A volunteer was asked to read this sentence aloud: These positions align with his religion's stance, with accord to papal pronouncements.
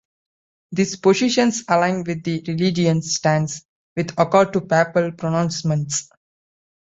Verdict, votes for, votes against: rejected, 1, 2